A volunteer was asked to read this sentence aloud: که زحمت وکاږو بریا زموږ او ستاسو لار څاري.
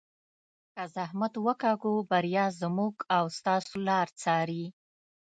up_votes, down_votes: 1, 2